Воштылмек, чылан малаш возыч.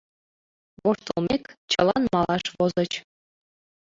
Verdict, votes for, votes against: accepted, 2, 1